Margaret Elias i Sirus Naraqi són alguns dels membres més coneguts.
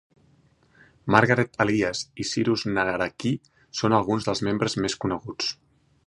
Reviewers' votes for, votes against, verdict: 1, 2, rejected